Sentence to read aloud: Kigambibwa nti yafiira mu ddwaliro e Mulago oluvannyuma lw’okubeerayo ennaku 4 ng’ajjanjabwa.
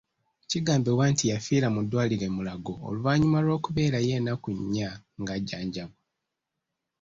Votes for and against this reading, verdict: 0, 2, rejected